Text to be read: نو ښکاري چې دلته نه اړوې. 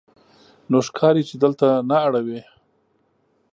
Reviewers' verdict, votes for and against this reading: accepted, 5, 0